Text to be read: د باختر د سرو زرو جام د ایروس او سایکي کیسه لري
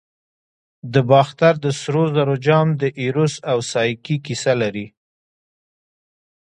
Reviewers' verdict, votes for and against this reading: rejected, 1, 2